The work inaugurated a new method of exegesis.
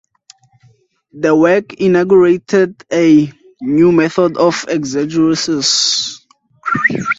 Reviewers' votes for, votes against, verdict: 0, 2, rejected